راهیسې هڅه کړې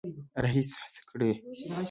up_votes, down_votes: 0, 2